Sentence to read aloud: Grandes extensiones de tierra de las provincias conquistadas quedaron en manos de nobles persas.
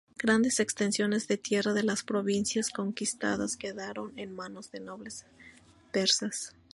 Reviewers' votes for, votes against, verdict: 4, 0, accepted